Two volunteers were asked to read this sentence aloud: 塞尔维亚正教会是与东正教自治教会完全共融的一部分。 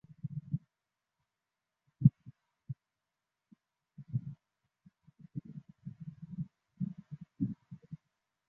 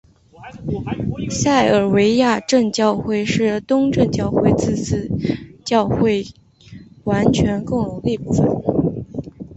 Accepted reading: second